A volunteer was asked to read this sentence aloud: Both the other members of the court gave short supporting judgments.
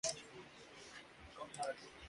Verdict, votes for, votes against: rejected, 0, 2